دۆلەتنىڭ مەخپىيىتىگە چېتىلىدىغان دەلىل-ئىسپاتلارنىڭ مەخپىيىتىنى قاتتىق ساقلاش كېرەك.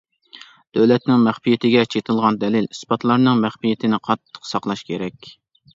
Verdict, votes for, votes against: rejected, 0, 2